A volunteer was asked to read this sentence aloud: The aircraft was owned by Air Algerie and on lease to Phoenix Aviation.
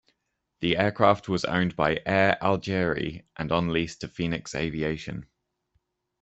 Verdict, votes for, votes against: accepted, 2, 0